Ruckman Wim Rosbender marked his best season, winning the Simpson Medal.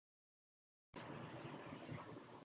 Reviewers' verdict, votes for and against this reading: rejected, 0, 2